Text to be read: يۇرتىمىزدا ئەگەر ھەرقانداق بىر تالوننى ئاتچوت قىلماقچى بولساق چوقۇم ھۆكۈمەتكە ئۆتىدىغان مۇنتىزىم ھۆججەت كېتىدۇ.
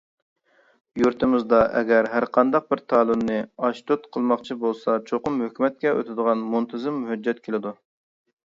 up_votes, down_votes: 0, 2